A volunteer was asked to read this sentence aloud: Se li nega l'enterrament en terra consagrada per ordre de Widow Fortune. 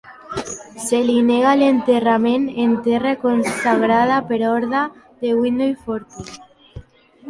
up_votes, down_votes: 0, 2